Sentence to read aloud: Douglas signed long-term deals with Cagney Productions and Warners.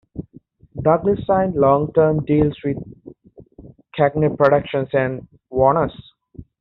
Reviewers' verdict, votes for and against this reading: accepted, 2, 0